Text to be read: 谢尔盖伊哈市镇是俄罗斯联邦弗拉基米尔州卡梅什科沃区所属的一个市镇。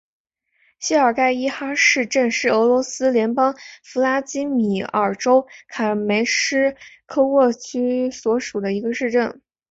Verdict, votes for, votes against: accepted, 2, 0